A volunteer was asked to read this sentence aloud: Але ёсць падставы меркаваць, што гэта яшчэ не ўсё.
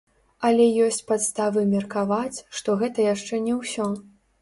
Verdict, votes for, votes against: rejected, 1, 2